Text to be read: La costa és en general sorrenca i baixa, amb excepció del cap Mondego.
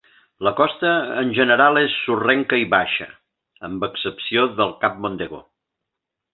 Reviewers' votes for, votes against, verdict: 0, 2, rejected